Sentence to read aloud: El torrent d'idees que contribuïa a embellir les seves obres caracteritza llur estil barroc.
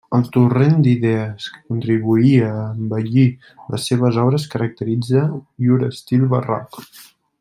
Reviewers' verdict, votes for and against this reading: accepted, 2, 0